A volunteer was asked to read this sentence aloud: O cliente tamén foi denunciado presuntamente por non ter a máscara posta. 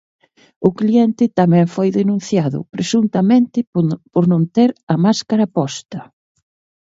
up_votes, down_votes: 1, 2